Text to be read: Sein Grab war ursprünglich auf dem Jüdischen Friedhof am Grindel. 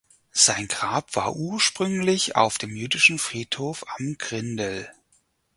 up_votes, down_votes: 4, 0